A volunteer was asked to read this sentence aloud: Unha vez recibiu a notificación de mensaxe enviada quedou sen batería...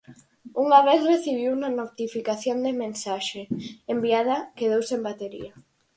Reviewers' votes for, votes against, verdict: 2, 4, rejected